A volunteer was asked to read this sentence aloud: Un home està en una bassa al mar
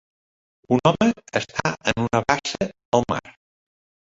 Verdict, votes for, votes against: rejected, 1, 2